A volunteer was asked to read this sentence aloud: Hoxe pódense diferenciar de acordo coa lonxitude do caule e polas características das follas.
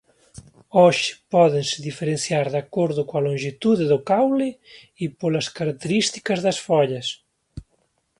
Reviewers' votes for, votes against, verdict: 2, 0, accepted